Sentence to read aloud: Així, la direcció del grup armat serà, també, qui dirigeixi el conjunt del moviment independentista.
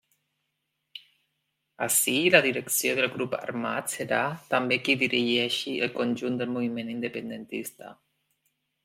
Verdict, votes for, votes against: accepted, 2, 0